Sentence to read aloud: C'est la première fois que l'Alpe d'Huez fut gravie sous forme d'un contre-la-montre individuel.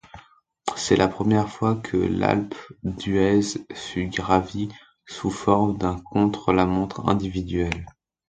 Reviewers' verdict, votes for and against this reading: accepted, 2, 0